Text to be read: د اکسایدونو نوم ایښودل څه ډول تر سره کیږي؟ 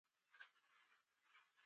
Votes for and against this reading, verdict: 0, 2, rejected